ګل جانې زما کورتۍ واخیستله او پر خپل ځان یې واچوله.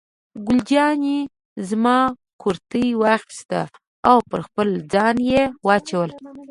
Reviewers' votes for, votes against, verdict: 0, 2, rejected